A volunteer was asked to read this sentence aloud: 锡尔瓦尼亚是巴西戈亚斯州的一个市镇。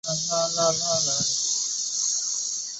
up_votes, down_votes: 0, 3